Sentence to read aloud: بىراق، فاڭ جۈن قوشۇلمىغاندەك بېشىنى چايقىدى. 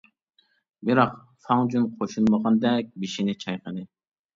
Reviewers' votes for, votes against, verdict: 1, 2, rejected